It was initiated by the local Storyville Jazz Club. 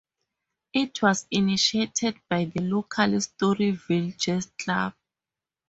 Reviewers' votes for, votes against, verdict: 2, 2, rejected